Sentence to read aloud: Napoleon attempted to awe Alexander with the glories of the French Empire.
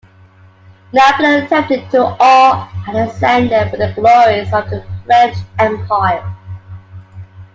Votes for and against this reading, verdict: 0, 2, rejected